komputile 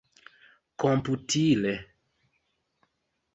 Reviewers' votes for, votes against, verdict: 4, 0, accepted